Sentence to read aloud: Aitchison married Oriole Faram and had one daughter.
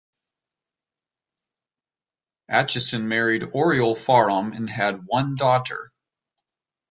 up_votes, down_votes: 2, 1